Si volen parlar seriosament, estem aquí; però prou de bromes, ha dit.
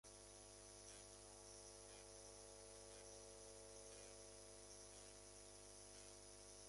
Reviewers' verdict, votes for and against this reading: rejected, 0, 2